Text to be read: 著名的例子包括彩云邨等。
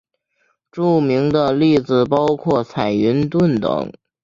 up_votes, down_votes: 1, 2